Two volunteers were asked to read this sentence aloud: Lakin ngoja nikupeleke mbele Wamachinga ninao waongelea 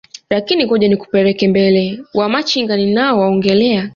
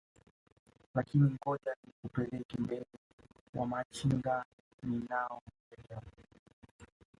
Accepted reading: first